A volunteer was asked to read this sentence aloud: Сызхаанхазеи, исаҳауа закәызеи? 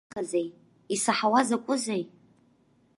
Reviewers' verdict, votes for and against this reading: rejected, 0, 2